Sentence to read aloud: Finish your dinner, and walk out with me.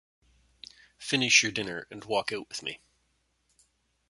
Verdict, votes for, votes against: accepted, 2, 0